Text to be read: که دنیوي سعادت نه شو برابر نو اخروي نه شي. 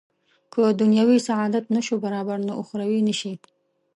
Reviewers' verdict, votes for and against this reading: accepted, 2, 0